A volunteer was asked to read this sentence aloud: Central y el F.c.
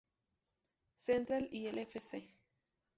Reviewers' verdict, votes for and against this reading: rejected, 0, 2